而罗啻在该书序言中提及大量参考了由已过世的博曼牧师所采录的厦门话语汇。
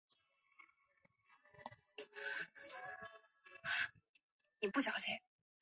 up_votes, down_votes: 0, 2